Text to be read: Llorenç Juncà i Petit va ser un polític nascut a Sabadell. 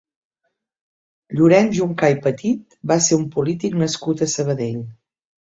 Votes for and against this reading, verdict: 2, 0, accepted